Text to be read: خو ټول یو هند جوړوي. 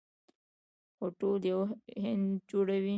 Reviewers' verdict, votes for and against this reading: accepted, 3, 0